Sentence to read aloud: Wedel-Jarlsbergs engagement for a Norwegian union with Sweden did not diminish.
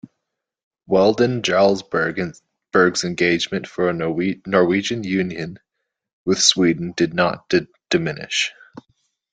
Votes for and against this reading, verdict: 0, 2, rejected